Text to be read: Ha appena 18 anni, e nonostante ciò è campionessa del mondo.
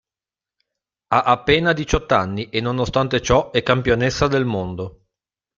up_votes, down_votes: 0, 2